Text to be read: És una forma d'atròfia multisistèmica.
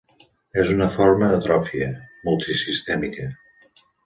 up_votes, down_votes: 2, 1